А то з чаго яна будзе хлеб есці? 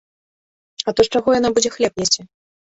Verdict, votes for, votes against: accepted, 2, 0